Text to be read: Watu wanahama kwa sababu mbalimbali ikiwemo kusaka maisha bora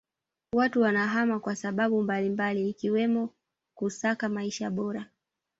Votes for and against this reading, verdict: 2, 1, accepted